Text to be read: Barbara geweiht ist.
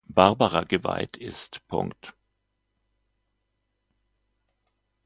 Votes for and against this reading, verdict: 2, 0, accepted